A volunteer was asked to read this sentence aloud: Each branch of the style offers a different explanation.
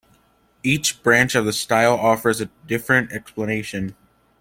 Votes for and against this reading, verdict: 2, 0, accepted